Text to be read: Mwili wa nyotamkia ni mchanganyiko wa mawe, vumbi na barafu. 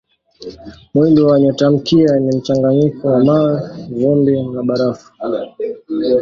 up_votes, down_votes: 2, 0